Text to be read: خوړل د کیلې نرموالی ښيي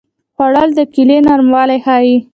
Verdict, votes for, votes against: rejected, 0, 2